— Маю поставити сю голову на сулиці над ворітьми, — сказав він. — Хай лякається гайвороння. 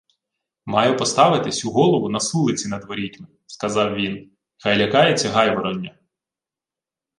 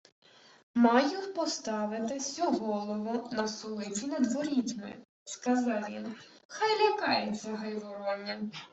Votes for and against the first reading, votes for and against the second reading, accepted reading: 2, 0, 1, 2, first